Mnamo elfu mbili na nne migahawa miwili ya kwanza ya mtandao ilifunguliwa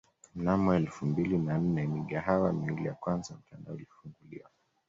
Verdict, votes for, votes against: rejected, 0, 2